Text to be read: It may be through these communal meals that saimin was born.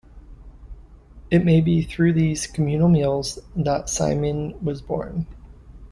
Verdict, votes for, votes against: accepted, 2, 0